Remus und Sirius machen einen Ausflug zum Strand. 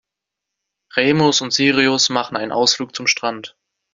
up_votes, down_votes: 2, 0